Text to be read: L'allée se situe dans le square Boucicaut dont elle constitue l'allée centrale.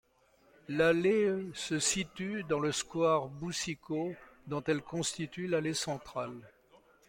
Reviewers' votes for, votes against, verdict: 2, 1, accepted